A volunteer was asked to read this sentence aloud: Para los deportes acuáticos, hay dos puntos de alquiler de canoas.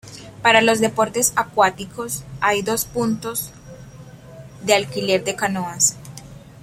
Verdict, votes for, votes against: rejected, 1, 2